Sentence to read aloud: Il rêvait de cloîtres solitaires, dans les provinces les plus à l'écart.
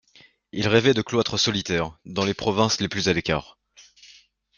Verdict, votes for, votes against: accepted, 2, 0